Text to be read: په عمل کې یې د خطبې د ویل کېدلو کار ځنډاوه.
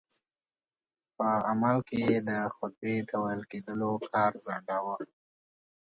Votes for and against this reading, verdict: 2, 0, accepted